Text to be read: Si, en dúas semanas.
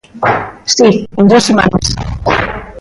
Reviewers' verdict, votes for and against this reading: rejected, 0, 2